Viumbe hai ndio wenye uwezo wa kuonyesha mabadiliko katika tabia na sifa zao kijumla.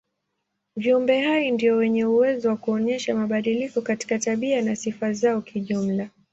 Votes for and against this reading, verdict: 5, 0, accepted